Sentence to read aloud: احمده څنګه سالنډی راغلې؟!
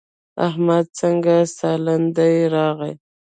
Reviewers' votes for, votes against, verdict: 0, 2, rejected